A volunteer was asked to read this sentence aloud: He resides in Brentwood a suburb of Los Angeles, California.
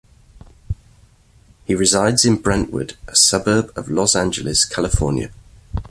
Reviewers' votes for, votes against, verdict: 2, 0, accepted